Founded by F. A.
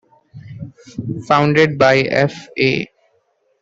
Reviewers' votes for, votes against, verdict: 2, 1, accepted